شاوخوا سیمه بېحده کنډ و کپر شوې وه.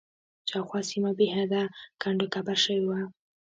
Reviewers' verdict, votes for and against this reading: accepted, 2, 1